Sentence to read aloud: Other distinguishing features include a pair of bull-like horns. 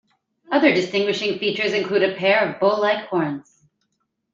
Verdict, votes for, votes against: accepted, 2, 0